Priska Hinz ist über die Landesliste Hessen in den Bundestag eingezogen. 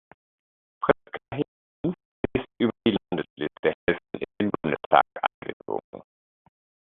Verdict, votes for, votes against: rejected, 0, 2